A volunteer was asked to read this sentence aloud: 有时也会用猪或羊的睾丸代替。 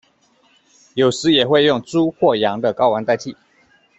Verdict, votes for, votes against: accepted, 2, 0